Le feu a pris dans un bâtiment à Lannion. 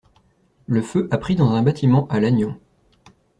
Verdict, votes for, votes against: accepted, 2, 0